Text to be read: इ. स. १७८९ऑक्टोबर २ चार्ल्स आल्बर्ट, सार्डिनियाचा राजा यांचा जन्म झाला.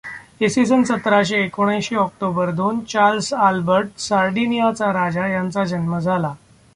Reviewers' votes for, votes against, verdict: 0, 2, rejected